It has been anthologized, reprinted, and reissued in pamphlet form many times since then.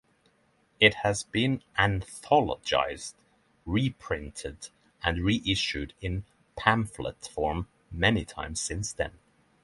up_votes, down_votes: 6, 0